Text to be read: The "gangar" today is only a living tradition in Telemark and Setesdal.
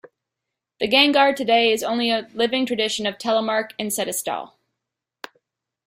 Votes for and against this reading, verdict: 1, 2, rejected